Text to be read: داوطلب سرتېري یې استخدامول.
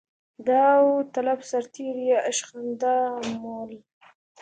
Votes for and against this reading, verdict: 2, 1, accepted